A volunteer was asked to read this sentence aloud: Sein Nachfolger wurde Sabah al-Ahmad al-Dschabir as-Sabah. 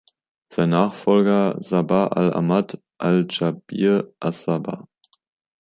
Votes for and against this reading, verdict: 1, 2, rejected